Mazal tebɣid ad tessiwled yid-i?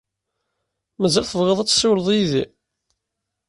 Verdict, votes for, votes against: accepted, 2, 0